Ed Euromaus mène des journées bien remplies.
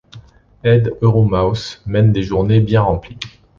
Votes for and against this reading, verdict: 2, 0, accepted